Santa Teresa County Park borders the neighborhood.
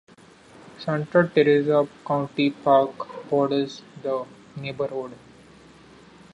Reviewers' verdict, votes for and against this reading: accepted, 2, 0